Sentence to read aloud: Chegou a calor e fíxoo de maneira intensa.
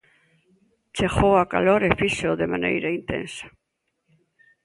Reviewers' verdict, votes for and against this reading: accepted, 3, 0